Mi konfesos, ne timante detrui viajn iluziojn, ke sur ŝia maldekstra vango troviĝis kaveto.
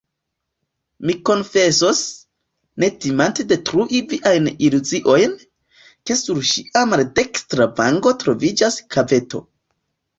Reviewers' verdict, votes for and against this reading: accepted, 2, 0